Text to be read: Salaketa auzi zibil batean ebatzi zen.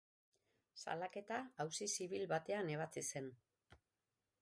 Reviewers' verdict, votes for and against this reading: rejected, 3, 3